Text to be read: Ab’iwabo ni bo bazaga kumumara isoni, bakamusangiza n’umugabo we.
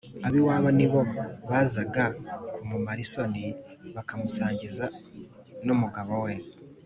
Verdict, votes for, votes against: accepted, 2, 0